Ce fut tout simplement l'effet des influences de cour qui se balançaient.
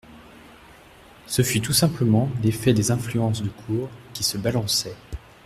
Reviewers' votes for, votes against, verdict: 1, 2, rejected